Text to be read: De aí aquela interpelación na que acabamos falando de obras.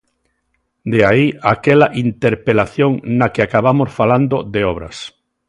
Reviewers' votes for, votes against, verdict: 2, 0, accepted